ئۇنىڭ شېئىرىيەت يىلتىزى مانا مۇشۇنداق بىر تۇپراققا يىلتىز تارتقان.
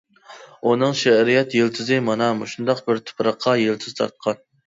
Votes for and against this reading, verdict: 2, 0, accepted